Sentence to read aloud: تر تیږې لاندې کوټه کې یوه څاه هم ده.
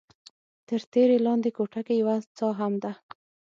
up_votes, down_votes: 3, 6